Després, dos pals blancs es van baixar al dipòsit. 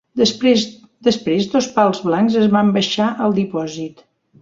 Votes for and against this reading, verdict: 0, 2, rejected